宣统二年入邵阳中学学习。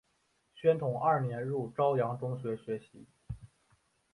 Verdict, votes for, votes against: accepted, 2, 1